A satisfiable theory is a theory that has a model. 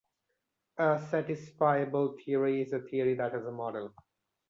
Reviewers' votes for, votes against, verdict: 2, 0, accepted